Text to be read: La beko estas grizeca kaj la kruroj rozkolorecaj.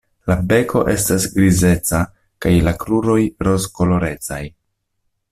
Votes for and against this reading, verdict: 2, 0, accepted